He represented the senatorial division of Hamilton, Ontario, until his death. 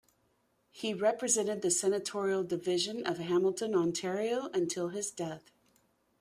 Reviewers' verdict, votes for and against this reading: accepted, 2, 0